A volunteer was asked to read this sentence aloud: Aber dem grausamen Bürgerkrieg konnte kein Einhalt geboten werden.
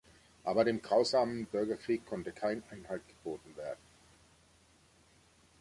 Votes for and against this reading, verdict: 2, 1, accepted